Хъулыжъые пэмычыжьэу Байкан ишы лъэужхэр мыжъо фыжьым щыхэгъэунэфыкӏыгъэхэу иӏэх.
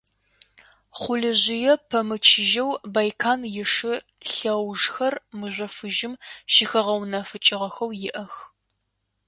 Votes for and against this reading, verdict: 2, 0, accepted